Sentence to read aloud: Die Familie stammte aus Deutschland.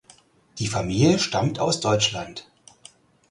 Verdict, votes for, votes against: rejected, 2, 4